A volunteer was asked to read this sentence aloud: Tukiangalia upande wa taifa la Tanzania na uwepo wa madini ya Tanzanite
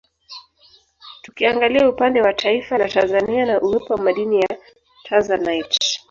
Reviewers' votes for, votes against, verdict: 0, 3, rejected